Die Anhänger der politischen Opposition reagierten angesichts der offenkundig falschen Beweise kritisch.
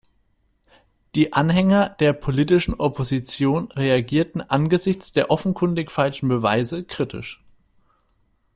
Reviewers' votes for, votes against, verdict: 2, 0, accepted